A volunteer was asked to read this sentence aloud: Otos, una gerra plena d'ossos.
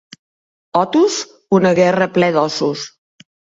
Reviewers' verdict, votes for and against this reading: rejected, 0, 2